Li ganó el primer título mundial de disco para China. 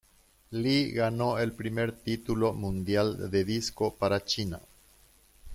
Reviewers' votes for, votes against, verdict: 2, 0, accepted